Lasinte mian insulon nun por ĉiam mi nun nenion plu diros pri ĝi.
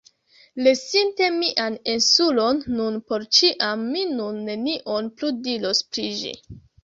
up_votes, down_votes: 1, 2